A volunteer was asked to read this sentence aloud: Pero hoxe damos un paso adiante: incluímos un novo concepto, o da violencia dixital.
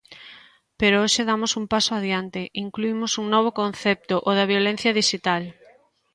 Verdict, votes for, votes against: accepted, 2, 0